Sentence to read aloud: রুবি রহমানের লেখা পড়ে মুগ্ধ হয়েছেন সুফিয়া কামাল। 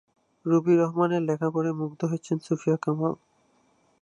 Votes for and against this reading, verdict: 2, 2, rejected